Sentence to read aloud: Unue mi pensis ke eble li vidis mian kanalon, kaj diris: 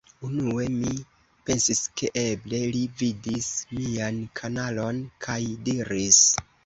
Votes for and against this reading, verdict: 2, 0, accepted